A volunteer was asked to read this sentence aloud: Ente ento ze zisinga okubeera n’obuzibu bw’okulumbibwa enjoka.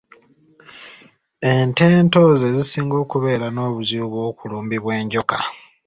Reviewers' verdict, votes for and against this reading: accepted, 2, 0